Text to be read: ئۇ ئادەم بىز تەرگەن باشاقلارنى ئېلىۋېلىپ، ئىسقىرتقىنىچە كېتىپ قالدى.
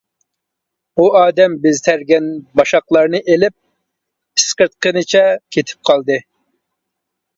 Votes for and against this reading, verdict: 0, 2, rejected